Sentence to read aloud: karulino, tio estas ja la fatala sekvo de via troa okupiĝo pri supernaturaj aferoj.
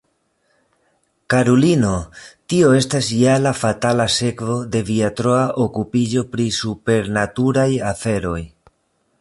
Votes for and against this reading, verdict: 0, 3, rejected